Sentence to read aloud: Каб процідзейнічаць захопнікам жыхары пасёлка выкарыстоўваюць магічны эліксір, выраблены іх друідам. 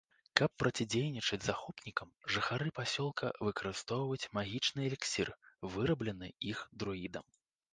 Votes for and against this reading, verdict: 1, 2, rejected